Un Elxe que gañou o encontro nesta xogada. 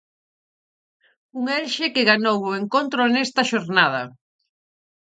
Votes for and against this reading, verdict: 0, 4, rejected